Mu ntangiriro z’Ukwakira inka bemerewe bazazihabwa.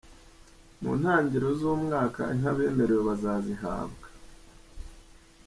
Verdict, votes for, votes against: rejected, 0, 2